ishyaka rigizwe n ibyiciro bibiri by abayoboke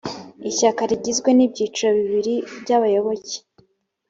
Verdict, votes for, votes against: accepted, 2, 0